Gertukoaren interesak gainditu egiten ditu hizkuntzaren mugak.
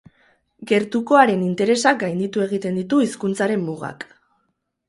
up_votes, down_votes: 2, 0